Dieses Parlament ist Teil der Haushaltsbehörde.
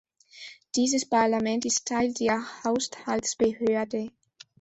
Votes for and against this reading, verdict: 0, 2, rejected